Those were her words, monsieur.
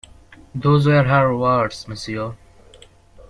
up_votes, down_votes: 1, 2